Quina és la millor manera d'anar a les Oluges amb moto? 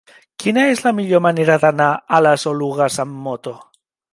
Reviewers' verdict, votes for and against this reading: accepted, 2, 1